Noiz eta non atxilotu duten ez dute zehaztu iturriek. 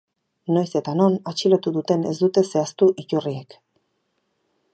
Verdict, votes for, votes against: accepted, 4, 0